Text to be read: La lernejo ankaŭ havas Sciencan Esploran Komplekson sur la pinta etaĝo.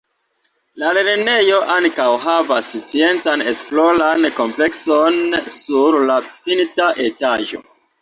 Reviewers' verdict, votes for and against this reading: accepted, 2, 0